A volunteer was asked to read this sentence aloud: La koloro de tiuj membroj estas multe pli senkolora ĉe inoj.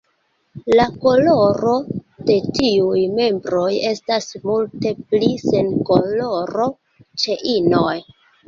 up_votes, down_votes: 0, 2